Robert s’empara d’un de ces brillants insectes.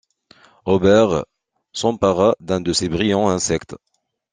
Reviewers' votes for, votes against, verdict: 2, 1, accepted